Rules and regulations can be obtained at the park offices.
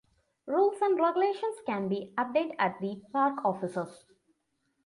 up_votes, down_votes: 2, 0